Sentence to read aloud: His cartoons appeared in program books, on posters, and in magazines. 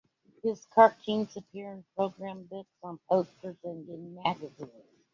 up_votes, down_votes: 2, 1